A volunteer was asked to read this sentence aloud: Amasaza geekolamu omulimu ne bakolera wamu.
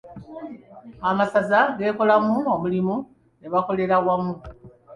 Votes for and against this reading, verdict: 2, 0, accepted